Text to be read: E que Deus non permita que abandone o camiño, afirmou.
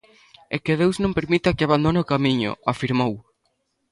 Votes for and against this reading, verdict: 2, 0, accepted